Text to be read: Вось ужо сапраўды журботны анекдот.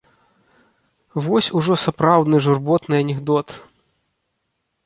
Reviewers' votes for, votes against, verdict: 0, 2, rejected